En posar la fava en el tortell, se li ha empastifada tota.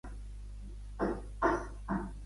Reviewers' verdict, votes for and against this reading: rejected, 1, 2